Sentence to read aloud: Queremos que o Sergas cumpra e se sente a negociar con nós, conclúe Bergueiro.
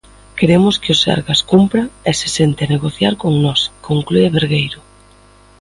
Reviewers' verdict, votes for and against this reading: accepted, 2, 0